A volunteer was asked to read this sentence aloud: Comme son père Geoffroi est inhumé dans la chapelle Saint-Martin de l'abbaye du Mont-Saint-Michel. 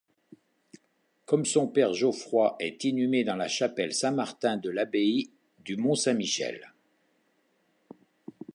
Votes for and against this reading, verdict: 2, 0, accepted